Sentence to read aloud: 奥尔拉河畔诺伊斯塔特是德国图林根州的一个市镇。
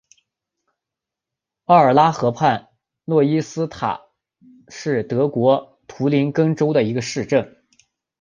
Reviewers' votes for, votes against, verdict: 3, 1, accepted